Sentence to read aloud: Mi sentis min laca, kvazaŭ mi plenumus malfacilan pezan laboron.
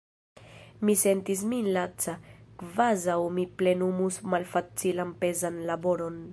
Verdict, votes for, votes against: rejected, 1, 2